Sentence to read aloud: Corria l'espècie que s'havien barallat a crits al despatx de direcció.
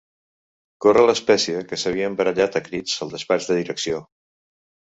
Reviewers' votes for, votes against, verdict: 1, 2, rejected